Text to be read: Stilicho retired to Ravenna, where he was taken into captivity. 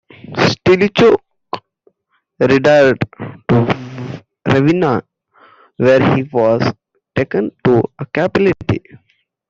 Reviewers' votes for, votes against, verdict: 0, 2, rejected